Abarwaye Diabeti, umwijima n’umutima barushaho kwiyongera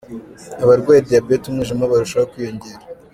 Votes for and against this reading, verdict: 1, 2, rejected